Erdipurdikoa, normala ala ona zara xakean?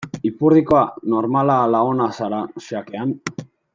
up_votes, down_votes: 0, 2